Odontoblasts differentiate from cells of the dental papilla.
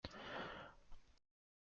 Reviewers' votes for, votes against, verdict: 0, 2, rejected